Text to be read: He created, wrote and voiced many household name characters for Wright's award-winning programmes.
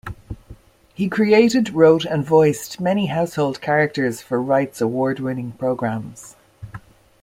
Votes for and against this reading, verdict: 1, 2, rejected